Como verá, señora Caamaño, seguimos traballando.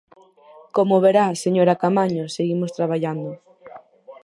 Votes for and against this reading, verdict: 2, 4, rejected